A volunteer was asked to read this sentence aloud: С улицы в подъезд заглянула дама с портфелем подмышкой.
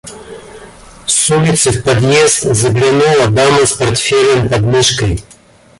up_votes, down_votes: 1, 2